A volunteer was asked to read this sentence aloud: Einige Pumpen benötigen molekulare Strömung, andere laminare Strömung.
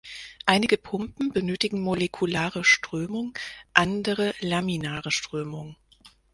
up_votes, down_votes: 4, 2